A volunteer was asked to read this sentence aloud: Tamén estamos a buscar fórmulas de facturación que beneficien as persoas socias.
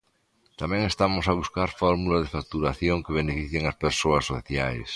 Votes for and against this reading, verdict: 2, 1, accepted